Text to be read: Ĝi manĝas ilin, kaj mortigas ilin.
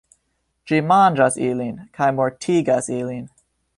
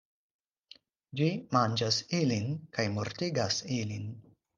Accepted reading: second